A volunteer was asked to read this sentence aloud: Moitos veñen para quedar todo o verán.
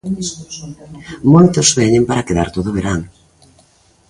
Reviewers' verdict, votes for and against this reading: rejected, 1, 2